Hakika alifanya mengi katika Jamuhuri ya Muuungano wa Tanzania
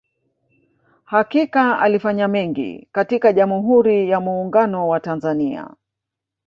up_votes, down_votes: 1, 2